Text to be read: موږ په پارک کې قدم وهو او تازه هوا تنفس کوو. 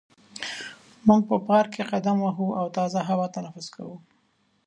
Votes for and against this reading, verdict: 2, 0, accepted